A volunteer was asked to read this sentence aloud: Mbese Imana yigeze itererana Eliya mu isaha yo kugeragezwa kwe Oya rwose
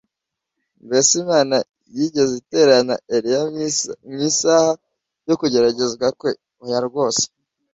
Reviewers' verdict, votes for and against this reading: rejected, 0, 2